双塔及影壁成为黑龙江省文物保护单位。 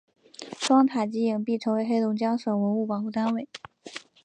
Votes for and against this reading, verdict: 2, 0, accepted